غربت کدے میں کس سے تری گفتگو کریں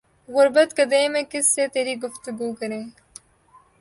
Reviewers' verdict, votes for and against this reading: accepted, 2, 0